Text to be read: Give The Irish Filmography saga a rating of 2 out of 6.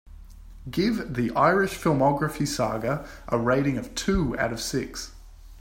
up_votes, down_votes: 0, 2